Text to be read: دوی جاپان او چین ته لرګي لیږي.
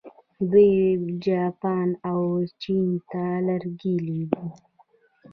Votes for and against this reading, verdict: 2, 0, accepted